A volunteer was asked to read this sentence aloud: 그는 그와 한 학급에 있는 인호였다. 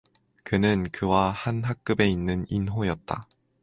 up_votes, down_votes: 4, 0